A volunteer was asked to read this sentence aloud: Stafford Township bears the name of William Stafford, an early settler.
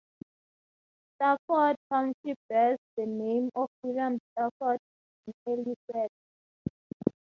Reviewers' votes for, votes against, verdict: 0, 2, rejected